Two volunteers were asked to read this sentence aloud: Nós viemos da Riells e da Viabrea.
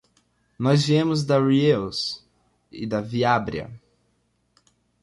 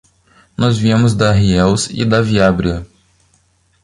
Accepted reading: first